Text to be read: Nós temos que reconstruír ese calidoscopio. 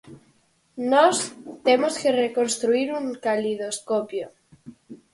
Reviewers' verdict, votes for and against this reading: rejected, 0, 4